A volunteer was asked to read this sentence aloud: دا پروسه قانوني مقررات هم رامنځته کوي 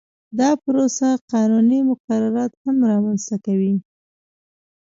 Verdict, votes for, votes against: rejected, 0, 2